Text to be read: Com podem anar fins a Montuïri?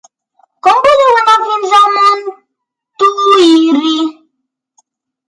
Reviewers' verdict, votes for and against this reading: accepted, 3, 1